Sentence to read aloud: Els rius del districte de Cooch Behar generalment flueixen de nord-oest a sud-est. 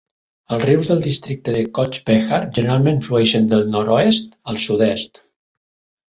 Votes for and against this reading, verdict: 1, 3, rejected